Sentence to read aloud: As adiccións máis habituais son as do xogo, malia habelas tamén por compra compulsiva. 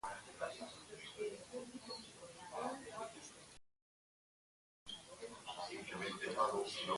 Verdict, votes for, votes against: rejected, 0, 2